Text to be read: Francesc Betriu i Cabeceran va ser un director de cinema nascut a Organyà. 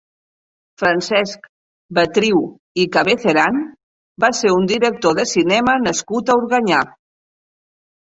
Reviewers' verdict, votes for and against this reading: accepted, 2, 0